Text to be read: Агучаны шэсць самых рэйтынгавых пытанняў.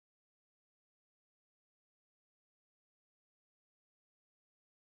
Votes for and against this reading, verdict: 1, 2, rejected